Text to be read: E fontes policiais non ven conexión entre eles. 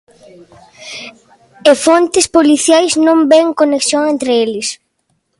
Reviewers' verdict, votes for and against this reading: accepted, 2, 0